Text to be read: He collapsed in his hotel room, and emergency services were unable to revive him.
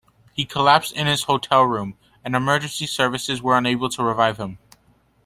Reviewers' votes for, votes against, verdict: 2, 0, accepted